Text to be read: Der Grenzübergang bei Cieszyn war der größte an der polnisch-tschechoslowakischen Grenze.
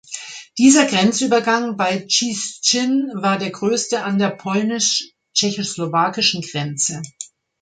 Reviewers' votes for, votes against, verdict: 1, 2, rejected